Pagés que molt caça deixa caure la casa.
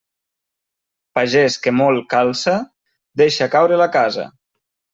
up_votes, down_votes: 0, 2